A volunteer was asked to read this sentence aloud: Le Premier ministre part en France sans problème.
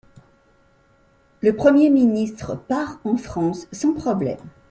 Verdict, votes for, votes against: accepted, 2, 0